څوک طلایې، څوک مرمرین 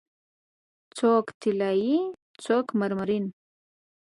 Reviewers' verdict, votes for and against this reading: accepted, 2, 0